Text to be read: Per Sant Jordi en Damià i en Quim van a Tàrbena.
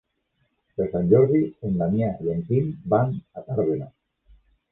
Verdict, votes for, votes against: rejected, 1, 2